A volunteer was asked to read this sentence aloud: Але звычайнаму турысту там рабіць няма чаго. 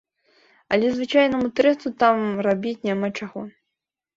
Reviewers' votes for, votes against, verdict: 4, 2, accepted